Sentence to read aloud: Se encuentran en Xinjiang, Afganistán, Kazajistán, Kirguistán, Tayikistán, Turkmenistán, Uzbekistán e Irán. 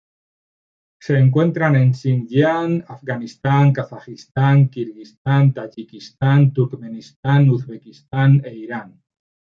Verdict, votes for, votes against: accepted, 3, 0